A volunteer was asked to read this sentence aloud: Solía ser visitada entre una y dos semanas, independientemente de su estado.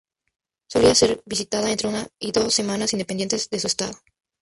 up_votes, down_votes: 0, 2